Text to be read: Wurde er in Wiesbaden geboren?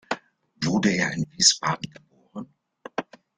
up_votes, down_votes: 2, 3